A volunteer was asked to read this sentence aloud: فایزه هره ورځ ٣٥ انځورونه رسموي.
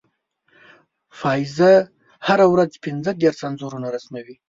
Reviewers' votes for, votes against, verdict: 0, 2, rejected